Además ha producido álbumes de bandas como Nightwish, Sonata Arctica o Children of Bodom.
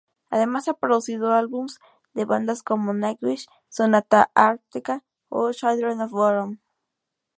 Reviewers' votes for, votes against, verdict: 4, 0, accepted